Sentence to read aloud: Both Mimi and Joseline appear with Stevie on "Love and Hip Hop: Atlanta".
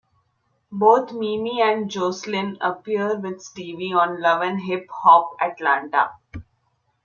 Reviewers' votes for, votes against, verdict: 2, 0, accepted